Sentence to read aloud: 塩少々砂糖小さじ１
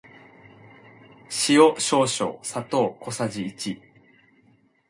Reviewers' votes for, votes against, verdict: 0, 2, rejected